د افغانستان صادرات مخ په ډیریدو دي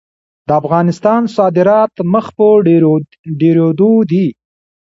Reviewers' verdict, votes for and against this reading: rejected, 1, 2